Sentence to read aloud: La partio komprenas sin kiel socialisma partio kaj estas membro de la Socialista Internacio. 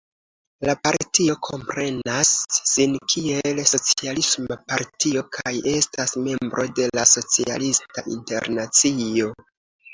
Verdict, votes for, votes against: accepted, 2, 1